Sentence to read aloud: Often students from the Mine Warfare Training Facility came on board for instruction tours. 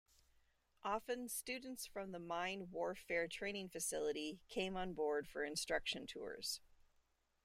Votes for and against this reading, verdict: 2, 0, accepted